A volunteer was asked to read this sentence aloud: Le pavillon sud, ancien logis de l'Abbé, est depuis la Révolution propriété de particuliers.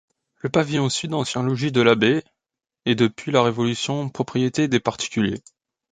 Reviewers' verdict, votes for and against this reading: rejected, 0, 2